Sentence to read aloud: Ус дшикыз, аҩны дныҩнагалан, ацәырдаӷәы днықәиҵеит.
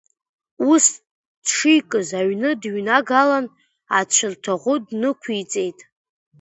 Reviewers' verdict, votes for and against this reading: accepted, 2, 0